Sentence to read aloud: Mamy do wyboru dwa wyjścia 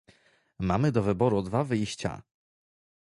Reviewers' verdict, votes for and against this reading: accepted, 2, 0